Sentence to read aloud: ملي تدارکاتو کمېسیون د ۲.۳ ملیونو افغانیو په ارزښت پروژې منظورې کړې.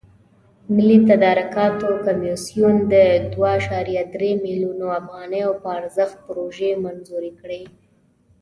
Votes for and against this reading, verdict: 0, 2, rejected